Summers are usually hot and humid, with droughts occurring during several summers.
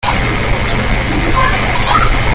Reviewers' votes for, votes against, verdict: 0, 2, rejected